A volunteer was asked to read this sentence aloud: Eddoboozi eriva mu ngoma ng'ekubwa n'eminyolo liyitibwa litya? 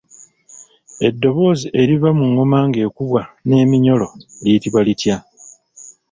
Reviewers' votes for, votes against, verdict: 2, 0, accepted